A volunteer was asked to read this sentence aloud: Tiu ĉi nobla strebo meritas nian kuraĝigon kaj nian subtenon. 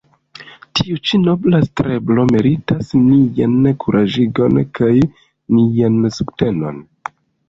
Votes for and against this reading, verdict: 0, 2, rejected